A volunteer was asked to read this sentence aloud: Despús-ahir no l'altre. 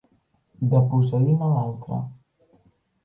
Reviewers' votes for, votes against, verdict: 0, 2, rejected